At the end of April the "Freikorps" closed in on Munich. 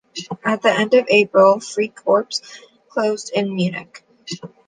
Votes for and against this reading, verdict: 1, 2, rejected